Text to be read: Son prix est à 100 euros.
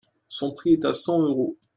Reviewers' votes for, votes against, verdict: 0, 2, rejected